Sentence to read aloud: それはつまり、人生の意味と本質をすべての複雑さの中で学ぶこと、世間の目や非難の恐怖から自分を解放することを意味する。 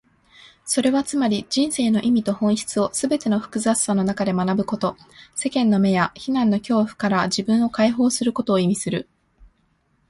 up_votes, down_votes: 2, 0